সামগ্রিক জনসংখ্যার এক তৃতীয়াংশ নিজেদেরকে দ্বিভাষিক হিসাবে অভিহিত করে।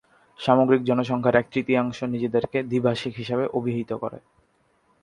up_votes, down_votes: 5, 2